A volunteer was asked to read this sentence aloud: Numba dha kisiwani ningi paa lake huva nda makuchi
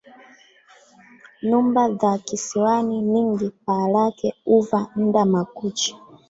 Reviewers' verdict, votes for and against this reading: accepted, 3, 2